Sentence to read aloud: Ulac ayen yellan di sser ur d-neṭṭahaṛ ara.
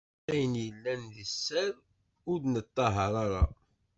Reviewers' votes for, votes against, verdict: 0, 2, rejected